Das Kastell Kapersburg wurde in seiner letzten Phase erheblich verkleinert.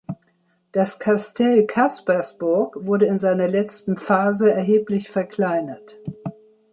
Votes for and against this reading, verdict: 1, 2, rejected